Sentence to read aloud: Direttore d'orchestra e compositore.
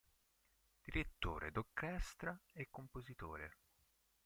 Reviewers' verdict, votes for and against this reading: rejected, 1, 2